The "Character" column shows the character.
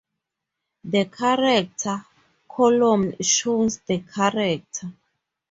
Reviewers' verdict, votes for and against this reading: rejected, 2, 2